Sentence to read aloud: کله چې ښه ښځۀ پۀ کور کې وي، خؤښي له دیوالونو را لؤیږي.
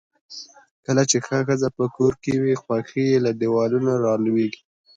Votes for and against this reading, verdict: 2, 1, accepted